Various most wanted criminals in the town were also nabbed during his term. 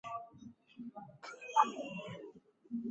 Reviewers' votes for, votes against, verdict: 0, 2, rejected